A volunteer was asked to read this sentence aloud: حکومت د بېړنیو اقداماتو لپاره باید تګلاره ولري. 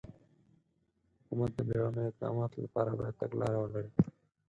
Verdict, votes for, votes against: rejected, 2, 4